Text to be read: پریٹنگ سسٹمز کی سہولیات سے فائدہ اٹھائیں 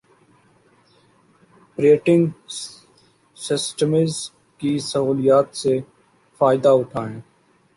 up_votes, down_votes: 1, 2